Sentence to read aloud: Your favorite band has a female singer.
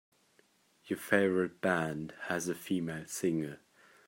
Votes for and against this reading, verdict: 2, 0, accepted